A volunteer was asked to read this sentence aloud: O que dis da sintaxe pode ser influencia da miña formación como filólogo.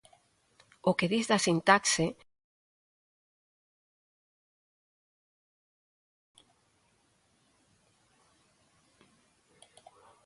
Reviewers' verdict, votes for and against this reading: rejected, 0, 2